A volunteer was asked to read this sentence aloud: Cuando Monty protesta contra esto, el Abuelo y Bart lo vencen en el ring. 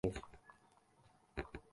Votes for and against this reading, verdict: 0, 2, rejected